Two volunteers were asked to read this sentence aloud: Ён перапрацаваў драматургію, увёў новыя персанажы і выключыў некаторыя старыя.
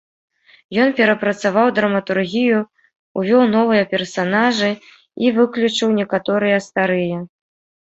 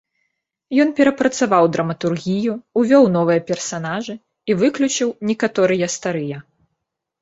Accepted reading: first